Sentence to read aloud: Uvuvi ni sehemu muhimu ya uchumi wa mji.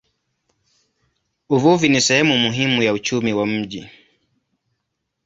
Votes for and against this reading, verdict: 2, 0, accepted